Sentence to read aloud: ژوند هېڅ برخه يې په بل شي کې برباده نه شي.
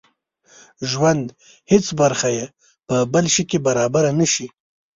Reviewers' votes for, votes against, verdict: 1, 2, rejected